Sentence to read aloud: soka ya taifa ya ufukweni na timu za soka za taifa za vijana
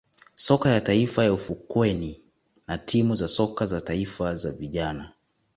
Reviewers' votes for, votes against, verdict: 2, 0, accepted